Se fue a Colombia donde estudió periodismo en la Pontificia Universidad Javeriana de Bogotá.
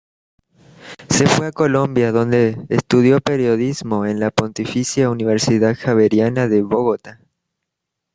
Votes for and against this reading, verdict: 2, 0, accepted